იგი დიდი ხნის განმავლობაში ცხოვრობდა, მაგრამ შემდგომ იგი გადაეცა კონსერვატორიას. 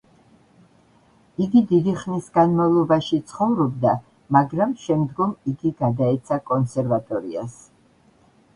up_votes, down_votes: 2, 0